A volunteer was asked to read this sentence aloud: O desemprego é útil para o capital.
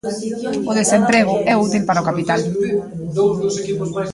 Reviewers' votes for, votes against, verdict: 1, 2, rejected